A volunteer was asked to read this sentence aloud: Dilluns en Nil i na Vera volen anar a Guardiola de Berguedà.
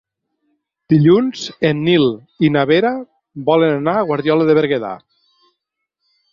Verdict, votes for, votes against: accepted, 8, 0